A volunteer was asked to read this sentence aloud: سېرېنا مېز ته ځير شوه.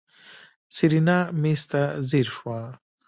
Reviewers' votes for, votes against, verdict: 1, 2, rejected